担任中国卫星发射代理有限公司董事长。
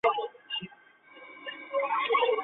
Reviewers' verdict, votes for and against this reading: rejected, 0, 3